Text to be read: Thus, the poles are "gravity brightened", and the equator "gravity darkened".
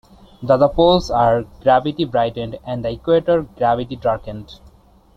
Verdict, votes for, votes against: rejected, 0, 2